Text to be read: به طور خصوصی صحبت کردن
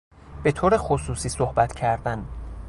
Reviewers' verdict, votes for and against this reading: accepted, 2, 0